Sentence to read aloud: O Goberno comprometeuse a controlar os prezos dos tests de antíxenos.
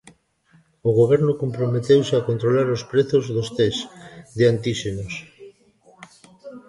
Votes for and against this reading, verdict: 2, 0, accepted